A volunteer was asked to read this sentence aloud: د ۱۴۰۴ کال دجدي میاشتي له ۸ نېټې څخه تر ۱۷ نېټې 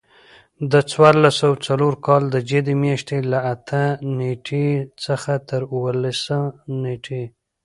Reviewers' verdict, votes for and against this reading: rejected, 0, 2